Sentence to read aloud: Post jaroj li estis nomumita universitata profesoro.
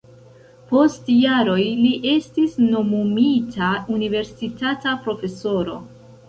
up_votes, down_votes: 0, 2